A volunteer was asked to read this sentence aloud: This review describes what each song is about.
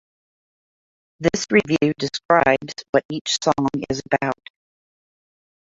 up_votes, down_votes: 2, 0